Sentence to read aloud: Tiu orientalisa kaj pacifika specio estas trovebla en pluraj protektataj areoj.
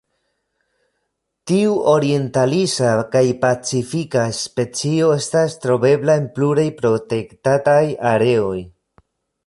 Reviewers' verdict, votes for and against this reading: accepted, 2, 0